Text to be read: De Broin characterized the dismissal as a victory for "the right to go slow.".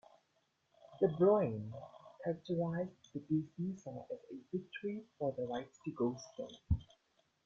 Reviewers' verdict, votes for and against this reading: rejected, 0, 2